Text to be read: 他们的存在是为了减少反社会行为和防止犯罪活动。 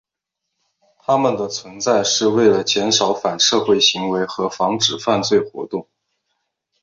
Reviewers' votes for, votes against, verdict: 5, 0, accepted